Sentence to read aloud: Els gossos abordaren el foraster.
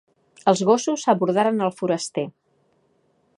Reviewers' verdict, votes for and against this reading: accepted, 2, 0